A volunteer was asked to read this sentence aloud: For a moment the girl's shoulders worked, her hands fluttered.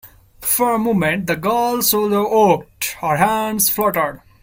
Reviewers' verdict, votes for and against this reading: rejected, 0, 2